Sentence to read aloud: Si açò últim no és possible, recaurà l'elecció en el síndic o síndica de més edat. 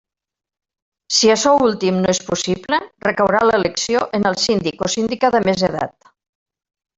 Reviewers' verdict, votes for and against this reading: accepted, 2, 0